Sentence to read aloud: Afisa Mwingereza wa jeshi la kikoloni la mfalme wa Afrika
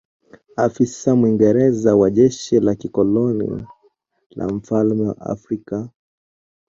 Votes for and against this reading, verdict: 2, 0, accepted